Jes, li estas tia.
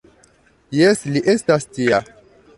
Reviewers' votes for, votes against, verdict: 0, 2, rejected